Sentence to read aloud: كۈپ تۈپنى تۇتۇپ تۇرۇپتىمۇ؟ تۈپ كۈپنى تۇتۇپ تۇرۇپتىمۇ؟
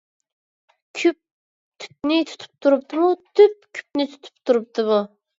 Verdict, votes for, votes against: accepted, 2, 1